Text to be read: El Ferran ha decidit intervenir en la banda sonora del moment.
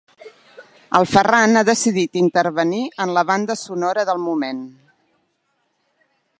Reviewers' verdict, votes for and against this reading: accepted, 3, 0